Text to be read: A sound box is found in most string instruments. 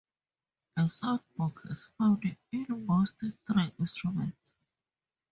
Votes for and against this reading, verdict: 2, 2, rejected